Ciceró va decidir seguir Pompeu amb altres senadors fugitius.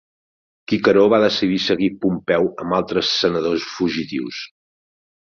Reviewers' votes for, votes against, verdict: 1, 2, rejected